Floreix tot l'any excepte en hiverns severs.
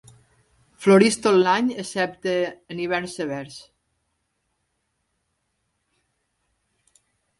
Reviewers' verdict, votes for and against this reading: accepted, 2, 0